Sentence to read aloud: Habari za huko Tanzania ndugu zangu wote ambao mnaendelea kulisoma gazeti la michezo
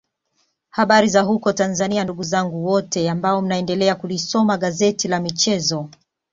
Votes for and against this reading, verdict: 2, 0, accepted